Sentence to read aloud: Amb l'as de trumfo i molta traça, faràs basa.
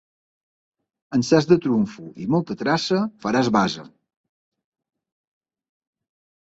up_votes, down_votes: 0, 2